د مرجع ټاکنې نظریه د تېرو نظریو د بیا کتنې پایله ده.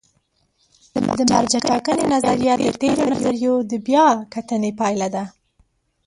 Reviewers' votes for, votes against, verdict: 0, 2, rejected